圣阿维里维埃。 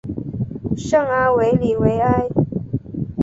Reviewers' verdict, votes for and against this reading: accepted, 2, 0